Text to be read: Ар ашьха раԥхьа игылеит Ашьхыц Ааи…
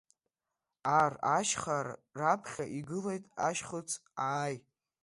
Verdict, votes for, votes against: rejected, 1, 2